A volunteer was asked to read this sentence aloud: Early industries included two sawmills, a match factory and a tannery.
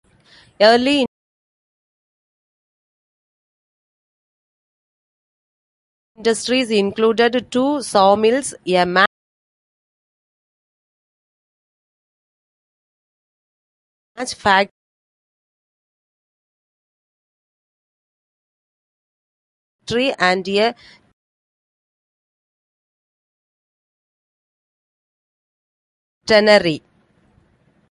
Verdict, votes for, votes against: rejected, 0, 2